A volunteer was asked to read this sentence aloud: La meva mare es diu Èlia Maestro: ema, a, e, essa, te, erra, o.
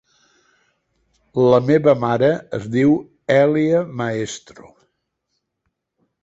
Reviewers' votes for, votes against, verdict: 0, 2, rejected